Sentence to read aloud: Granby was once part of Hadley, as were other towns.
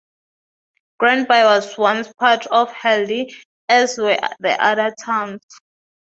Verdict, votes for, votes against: rejected, 0, 2